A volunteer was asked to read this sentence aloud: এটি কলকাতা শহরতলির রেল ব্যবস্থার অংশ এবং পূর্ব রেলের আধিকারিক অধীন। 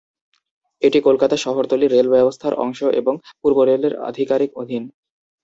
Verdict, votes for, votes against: accepted, 2, 0